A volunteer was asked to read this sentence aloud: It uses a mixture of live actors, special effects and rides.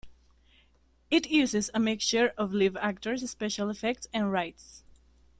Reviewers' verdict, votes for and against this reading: rejected, 0, 2